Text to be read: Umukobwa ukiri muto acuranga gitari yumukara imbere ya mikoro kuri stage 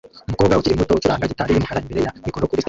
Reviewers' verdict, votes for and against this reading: rejected, 0, 2